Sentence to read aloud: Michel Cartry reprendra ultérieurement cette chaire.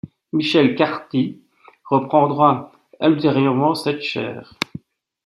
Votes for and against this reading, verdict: 2, 0, accepted